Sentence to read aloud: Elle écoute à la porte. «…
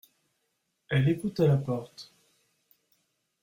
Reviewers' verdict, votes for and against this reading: accepted, 2, 0